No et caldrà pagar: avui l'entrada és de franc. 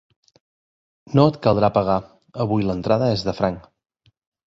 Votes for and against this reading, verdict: 3, 0, accepted